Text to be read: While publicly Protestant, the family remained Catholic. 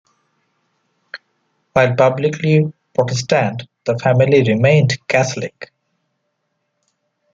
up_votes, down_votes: 2, 0